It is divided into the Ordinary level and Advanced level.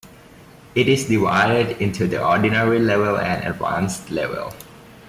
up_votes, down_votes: 2, 0